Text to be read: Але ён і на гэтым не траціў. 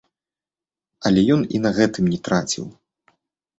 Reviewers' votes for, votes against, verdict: 2, 0, accepted